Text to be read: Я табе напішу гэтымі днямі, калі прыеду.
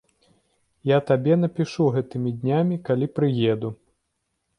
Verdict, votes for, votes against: accepted, 2, 0